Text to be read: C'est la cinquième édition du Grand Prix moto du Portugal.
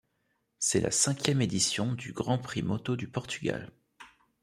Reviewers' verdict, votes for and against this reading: accepted, 2, 0